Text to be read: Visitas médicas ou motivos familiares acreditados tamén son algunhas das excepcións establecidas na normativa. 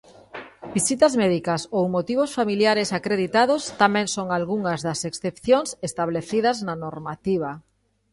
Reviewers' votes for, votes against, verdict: 2, 0, accepted